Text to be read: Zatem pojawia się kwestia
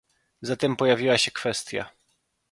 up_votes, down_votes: 1, 2